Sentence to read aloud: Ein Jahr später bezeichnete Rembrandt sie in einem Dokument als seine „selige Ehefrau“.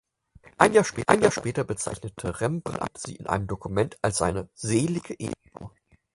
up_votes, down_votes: 0, 4